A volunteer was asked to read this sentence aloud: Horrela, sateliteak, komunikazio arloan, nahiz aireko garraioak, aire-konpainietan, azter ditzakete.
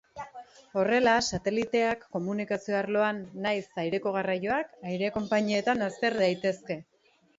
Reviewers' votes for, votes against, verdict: 1, 2, rejected